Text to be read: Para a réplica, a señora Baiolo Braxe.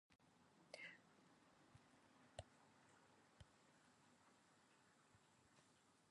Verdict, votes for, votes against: rejected, 0, 2